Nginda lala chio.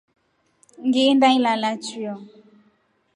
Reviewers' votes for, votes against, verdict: 1, 2, rejected